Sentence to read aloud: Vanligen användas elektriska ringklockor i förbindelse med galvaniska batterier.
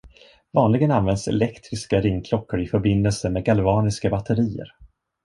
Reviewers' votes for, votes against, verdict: 2, 0, accepted